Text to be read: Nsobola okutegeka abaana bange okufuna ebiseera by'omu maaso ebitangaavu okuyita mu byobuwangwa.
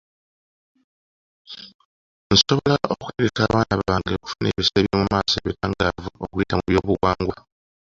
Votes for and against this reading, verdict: 0, 2, rejected